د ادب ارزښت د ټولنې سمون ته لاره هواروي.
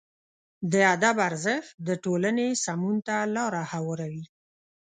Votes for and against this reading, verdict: 4, 0, accepted